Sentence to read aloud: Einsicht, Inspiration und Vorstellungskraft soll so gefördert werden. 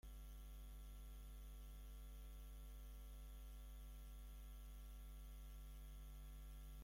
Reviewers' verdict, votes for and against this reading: rejected, 0, 2